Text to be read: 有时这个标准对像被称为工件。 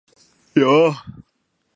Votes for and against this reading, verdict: 0, 2, rejected